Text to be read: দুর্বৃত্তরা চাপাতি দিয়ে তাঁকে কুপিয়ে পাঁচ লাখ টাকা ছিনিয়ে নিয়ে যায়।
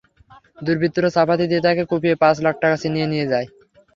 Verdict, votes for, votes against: rejected, 0, 3